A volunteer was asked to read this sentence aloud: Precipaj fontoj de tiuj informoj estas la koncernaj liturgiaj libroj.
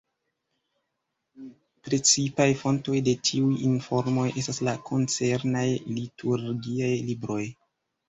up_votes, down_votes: 2, 0